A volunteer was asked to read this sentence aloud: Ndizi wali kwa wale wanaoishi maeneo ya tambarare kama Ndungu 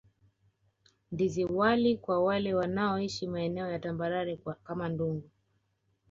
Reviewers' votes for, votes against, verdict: 1, 2, rejected